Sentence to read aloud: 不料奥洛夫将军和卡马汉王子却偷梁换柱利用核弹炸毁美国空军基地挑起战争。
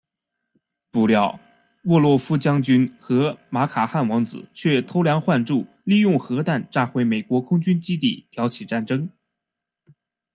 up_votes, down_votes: 1, 2